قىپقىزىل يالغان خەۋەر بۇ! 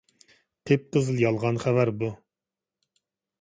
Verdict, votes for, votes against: accepted, 2, 0